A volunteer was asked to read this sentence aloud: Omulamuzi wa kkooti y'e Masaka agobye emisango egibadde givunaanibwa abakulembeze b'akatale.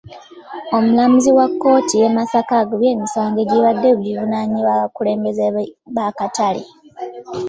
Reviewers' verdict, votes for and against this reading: rejected, 1, 3